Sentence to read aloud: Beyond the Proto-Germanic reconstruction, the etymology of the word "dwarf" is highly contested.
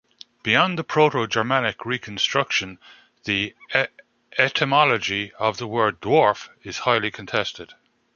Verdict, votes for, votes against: rejected, 1, 2